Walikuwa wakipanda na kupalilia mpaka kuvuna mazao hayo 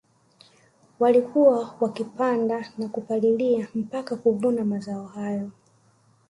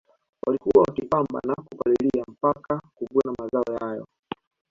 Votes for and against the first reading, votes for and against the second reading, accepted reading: 1, 2, 3, 2, second